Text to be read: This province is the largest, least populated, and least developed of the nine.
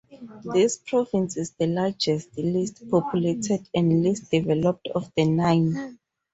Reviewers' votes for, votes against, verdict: 4, 2, accepted